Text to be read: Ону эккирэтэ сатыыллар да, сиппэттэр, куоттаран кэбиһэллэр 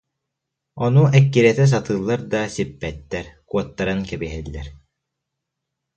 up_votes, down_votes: 2, 0